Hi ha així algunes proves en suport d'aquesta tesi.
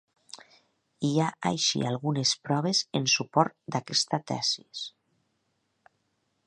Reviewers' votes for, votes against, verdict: 1, 4, rejected